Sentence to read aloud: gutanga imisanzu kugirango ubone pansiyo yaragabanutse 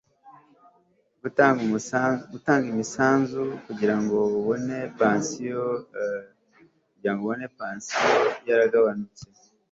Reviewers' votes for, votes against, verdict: 0, 2, rejected